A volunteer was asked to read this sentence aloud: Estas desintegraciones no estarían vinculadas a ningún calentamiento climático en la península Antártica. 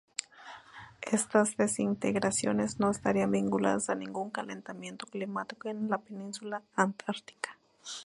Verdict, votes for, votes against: accepted, 2, 0